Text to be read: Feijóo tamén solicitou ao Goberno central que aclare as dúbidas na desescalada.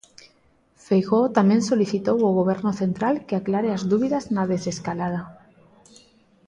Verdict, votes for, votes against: accepted, 2, 0